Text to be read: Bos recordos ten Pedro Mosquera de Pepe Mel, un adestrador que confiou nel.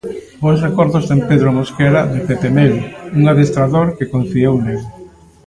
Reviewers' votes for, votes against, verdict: 0, 2, rejected